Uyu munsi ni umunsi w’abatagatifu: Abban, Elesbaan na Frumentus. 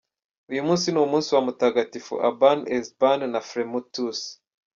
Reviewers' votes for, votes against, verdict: 1, 2, rejected